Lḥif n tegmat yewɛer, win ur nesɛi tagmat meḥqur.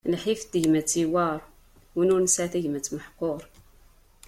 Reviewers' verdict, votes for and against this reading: accepted, 2, 0